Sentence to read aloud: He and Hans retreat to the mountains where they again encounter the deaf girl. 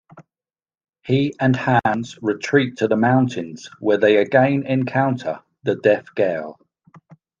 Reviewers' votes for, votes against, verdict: 2, 0, accepted